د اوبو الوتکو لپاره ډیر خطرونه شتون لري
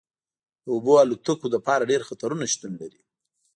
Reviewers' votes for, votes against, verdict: 2, 0, accepted